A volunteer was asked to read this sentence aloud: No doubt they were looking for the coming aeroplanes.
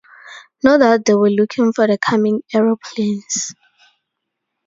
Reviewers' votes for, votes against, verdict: 2, 2, rejected